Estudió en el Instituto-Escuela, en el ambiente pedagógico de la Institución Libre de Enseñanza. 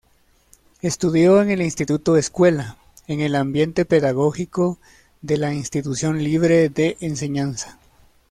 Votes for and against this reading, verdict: 2, 0, accepted